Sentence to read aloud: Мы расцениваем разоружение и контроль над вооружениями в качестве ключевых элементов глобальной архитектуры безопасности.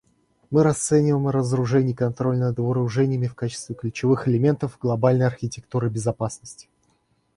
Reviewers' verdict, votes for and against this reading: accepted, 2, 1